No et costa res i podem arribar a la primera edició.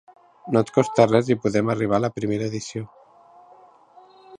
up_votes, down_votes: 3, 0